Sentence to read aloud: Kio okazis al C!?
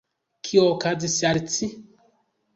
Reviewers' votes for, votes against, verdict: 1, 2, rejected